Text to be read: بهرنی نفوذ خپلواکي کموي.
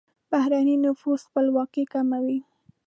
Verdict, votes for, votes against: accepted, 2, 0